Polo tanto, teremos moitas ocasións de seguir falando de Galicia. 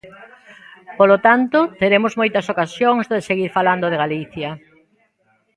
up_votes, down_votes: 0, 2